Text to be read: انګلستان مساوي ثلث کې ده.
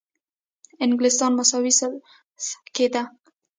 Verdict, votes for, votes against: rejected, 0, 2